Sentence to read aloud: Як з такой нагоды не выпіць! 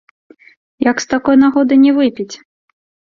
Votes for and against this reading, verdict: 2, 0, accepted